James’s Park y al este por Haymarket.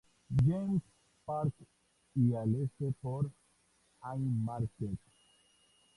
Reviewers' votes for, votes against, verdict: 2, 2, rejected